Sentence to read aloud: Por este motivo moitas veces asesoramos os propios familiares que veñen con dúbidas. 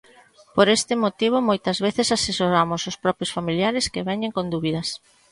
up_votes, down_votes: 2, 0